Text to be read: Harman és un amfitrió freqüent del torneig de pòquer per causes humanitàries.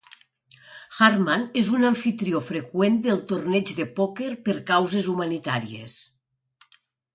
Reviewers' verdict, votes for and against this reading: accepted, 2, 0